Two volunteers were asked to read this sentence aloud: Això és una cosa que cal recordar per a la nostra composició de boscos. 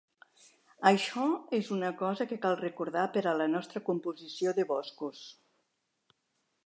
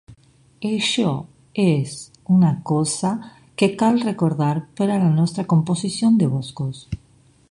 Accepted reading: first